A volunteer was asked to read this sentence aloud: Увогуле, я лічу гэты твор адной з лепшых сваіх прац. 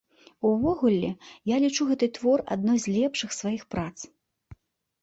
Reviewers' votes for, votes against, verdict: 2, 0, accepted